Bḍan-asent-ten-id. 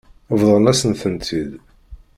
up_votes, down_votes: 2, 1